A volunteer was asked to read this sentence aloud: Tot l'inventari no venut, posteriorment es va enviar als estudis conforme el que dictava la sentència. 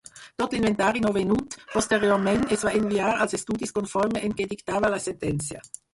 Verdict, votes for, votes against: rejected, 2, 4